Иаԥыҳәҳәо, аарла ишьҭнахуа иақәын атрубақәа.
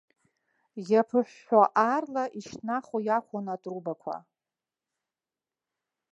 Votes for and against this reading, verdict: 2, 1, accepted